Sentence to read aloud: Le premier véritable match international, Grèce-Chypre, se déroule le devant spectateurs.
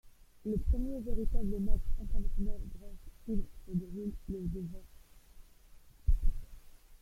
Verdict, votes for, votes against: rejected, 0, 2